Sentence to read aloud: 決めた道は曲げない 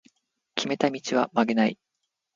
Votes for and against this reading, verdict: 2, 0, accepted